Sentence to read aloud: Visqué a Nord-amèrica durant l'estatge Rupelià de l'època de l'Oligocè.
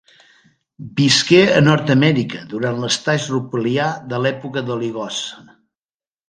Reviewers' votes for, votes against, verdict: 1, 2, rejected